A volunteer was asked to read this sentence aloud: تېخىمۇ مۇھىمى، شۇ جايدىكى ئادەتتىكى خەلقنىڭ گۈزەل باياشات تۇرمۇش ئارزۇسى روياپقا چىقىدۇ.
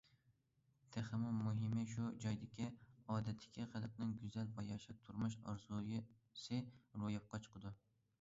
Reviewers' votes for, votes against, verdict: 0, 2, rejected